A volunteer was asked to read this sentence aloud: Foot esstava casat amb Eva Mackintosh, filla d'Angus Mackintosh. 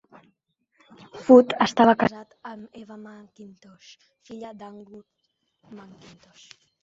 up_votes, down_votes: 1, 2